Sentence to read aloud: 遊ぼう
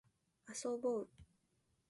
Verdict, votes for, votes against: rejected, 2, 2